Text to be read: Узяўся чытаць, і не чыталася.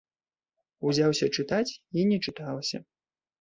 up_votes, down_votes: 2, 0